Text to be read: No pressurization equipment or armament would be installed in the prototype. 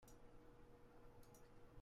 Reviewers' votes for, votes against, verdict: 0, 2, rejected